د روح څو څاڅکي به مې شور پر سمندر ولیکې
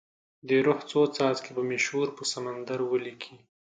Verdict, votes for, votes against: rejected, 1, 2